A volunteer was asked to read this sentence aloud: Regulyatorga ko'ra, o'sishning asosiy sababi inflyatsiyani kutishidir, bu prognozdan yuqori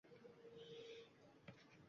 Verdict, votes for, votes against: rejected, 1, 2